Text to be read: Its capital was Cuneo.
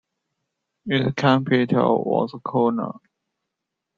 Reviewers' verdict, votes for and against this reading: rejected, 1, 2